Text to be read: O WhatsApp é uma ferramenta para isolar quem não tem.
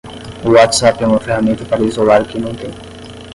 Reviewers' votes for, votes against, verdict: 5, 10, rejected